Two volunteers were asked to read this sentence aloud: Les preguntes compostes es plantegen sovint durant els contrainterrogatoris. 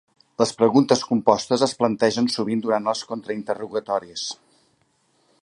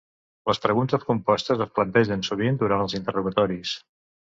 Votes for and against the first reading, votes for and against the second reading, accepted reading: 3, 0, 1, 2, first